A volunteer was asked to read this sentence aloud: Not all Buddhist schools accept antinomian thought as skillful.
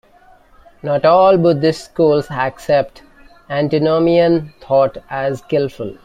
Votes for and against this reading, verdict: 2, 0, accepted